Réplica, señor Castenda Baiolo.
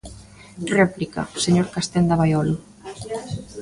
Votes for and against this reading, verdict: 0, 2, rejected